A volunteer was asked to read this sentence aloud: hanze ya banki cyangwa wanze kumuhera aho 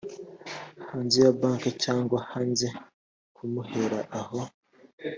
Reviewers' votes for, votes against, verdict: 0, 2, rejected